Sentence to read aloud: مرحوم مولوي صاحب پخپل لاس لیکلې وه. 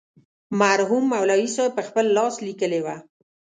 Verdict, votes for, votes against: accepted, 2, 0